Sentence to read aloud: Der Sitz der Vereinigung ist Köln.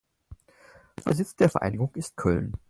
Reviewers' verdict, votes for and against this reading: accepted, 4, 0